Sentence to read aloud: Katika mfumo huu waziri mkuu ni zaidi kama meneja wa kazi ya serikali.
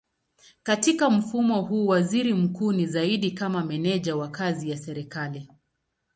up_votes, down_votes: 2, 0